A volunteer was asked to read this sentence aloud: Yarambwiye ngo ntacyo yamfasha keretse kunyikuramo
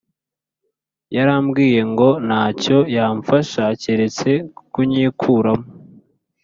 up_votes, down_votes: 2, 0